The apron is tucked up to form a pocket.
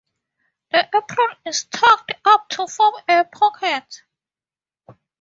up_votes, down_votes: 0, 4